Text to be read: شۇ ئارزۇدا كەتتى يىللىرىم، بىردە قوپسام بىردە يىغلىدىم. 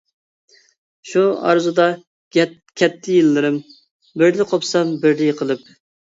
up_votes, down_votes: 0, 2